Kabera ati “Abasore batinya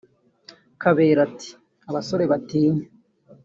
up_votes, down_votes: 2, 1